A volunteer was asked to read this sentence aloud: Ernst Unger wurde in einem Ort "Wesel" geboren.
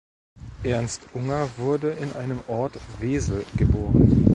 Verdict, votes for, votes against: rejected, 0, 2